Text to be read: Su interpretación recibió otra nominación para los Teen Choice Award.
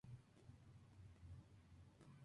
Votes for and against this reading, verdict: 0, 2, rejected